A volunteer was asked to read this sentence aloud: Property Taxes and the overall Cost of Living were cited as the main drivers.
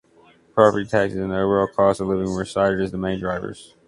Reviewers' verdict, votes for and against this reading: accepted, 2, 1